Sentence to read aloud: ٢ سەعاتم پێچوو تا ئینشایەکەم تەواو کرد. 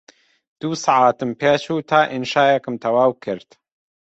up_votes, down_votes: 0, 2